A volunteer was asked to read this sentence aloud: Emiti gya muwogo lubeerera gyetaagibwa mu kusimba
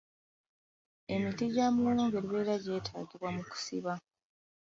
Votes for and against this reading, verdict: 1, 2, rejected